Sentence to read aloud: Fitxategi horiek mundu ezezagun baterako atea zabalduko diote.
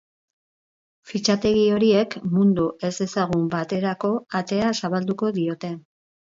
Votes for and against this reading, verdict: 4, 0, accepted